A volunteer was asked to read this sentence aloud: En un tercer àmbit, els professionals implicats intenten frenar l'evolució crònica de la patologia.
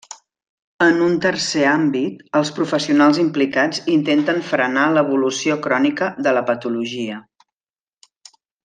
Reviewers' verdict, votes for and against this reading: accepted, 3, 0